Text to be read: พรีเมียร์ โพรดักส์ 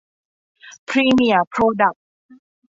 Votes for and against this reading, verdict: 2, 0, accepted